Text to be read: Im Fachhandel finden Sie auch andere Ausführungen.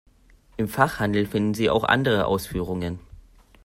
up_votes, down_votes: 2, 0